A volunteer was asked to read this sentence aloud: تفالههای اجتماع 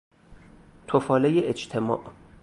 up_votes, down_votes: 0, 2